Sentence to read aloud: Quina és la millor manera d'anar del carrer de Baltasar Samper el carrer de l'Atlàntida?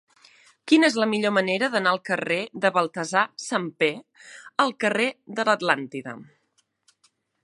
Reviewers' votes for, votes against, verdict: 0, 2, rejected